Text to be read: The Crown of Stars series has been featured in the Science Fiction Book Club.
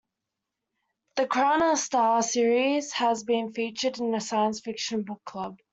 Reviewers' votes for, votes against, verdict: 2, 0, accepted